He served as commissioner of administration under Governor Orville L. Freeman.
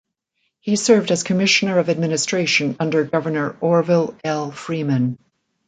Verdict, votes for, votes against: accepted, 2, 0